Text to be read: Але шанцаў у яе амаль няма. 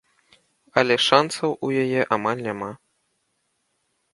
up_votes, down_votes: 2, 0